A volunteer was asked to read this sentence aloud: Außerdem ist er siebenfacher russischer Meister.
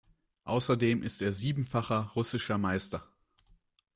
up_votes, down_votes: 2, 0